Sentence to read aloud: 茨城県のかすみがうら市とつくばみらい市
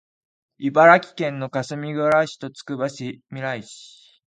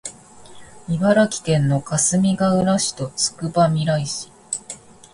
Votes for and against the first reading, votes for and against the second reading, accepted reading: 0, 2, 2, 0, second